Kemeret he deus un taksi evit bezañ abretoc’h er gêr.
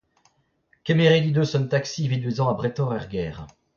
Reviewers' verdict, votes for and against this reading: rejected, 0, 2